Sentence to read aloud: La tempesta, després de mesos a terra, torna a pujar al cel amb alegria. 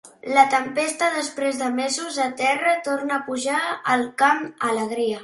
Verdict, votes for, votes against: rejected, 1, 2